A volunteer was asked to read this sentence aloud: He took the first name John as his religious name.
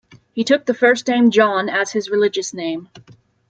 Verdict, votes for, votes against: accepted, 2, 0